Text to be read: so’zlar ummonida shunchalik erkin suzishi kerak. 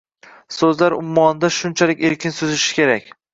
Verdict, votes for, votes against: rejected, 1, 2